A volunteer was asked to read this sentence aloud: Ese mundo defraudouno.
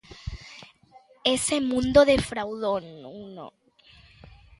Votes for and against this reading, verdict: 1, 2, rejected